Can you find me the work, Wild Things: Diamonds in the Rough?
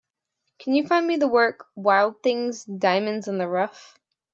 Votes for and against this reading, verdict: 2, 0, accepted